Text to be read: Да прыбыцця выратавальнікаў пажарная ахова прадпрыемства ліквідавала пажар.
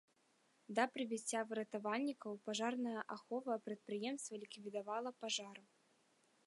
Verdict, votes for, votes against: rejected, 0, 2